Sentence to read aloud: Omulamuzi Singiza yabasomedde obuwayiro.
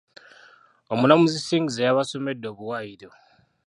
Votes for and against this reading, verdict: 2, 1, accepted